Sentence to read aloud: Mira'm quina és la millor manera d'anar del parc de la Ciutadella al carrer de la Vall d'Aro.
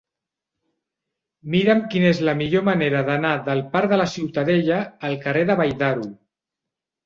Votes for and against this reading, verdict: 1, 2, rejected